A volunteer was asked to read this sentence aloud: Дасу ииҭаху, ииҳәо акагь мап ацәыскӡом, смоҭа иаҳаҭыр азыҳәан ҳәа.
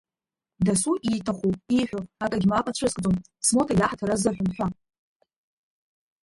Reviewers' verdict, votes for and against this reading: accepted, 2, 0